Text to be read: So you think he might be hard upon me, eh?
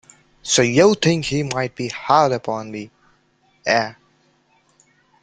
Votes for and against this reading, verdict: 2, 0, accepted